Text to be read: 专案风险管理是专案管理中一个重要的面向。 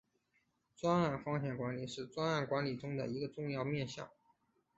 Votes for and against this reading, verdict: 2, 3, rejected